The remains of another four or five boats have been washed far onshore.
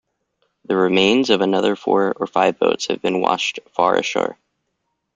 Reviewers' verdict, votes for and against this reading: rejected, 0, 2